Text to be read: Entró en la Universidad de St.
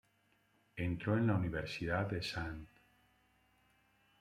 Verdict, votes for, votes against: rejected, 2, 3